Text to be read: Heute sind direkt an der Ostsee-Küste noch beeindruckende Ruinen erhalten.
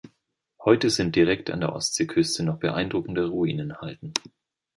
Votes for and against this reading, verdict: 2, 0, accepted